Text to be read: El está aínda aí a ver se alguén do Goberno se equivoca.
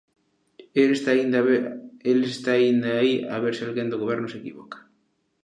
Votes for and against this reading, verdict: 0, 2, rejected